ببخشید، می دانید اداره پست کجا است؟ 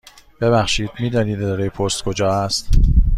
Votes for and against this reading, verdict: 2, 0, accepted